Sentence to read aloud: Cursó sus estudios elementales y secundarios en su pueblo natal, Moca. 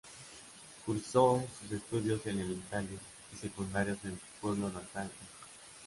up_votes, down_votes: 1, 2